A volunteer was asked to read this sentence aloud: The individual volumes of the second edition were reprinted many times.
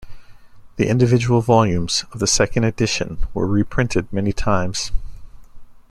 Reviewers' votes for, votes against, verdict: 2, 0, accepted